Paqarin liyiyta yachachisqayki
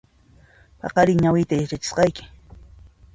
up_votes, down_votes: 0, 2